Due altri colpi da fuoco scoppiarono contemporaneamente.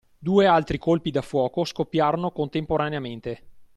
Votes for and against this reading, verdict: 2, 0, accepted